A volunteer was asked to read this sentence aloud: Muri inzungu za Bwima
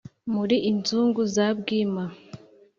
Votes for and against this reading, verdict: 2, 0, accepted